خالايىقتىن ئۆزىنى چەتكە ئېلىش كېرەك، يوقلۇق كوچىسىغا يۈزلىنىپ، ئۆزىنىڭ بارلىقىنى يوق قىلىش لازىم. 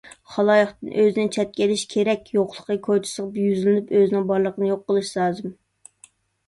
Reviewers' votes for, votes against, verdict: 0, 2, rejected